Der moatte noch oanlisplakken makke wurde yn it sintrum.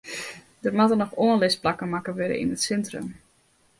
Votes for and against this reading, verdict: 0, 2, rejected